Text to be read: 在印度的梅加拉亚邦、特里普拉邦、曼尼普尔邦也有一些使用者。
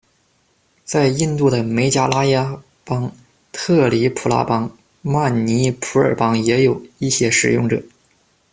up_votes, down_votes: 1, 2